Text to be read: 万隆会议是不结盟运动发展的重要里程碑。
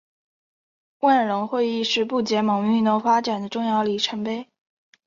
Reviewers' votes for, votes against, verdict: 3, 0, accepted